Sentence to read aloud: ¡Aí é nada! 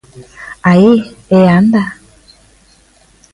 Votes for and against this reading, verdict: 0, 3, rejected